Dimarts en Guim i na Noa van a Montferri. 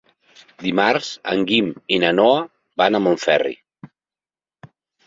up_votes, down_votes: 3, 0